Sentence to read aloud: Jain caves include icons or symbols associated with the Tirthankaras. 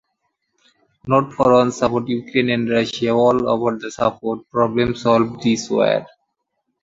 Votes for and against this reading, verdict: 0, 2, rejected